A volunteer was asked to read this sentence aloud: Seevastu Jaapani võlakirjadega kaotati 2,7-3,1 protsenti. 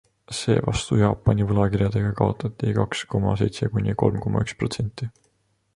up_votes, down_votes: 0, 2